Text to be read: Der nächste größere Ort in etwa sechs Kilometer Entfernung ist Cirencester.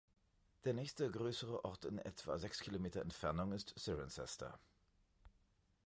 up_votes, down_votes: 1, 2